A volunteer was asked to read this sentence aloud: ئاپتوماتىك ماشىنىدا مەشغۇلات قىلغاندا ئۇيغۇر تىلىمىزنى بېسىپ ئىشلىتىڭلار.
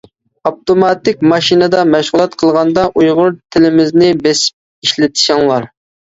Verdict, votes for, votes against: rejected, 0, 2